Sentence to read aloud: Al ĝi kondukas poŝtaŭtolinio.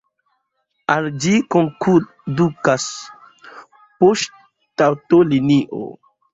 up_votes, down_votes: 1, 2